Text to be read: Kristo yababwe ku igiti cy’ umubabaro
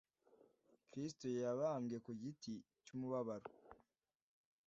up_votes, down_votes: 2, 0